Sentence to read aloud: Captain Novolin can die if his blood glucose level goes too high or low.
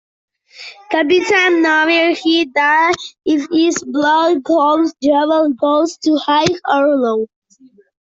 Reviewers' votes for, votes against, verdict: 0, 2, rejected